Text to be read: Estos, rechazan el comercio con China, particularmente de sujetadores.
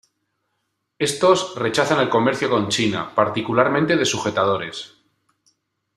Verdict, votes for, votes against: accepted, 2, 0